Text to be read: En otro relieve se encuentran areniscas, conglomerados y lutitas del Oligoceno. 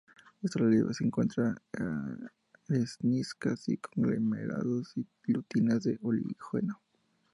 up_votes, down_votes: 2, 0